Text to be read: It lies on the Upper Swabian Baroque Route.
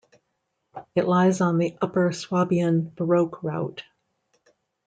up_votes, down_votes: 1, 2